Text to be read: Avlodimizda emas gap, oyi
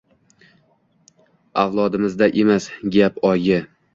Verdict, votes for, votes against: accepted, 2, 1